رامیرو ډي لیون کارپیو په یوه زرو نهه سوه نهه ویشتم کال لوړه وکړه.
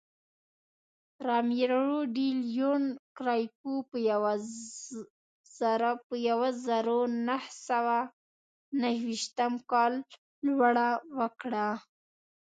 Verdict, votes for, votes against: rejected, 0, 2